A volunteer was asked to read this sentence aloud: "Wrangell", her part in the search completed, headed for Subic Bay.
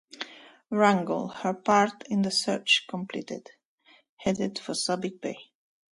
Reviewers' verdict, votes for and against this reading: accepted, 2, 1